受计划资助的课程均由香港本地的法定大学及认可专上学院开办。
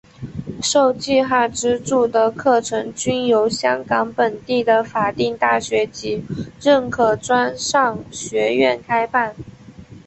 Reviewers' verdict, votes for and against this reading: accepted, 5, 0